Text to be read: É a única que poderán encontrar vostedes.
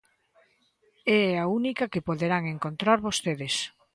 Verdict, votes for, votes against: rejected, 0, 2